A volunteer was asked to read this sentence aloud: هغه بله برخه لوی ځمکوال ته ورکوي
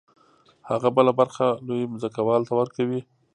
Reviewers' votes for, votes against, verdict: 2, 0, accepted